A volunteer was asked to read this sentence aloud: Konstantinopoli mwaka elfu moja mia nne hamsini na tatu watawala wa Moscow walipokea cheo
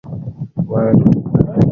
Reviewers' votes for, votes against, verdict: 0, 2, rejected